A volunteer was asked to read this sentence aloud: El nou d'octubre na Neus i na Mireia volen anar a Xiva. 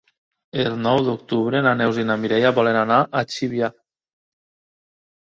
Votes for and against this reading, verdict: 1, 2, rejected